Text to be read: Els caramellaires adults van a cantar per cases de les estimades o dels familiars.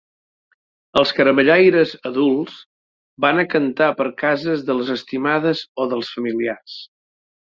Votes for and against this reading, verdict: 3, 0, accepted